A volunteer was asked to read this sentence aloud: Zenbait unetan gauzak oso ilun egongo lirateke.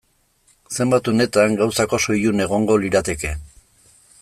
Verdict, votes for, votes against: accepted, 2, 0